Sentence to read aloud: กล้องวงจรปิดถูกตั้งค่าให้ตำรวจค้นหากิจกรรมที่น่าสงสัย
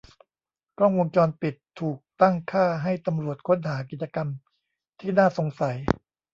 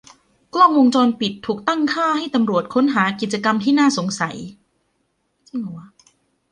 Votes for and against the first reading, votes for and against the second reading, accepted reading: 1, 2, 2, 1, second